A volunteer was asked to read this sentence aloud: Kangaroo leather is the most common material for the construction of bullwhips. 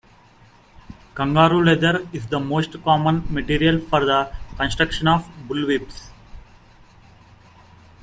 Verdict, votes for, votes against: rejected, 1, 2